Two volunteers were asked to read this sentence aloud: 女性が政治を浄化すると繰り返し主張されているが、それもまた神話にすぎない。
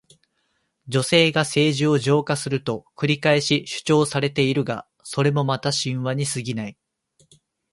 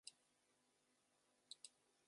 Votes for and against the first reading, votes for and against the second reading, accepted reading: 2, 1, 0, 2, first